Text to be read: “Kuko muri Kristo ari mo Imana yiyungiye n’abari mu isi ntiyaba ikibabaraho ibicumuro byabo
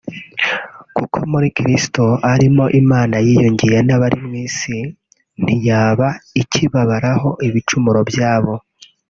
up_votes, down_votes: 2, 0